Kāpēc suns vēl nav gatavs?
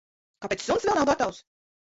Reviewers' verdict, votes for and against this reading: rejected, 1, 2